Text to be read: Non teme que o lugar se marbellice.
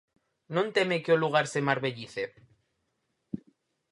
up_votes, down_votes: 4, 0